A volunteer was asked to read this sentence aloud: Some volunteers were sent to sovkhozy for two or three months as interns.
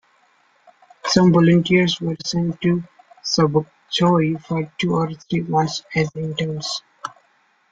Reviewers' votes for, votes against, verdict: 0, 2, rejected